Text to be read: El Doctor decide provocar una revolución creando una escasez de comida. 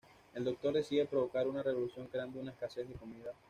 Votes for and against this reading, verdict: 1, 2, rejected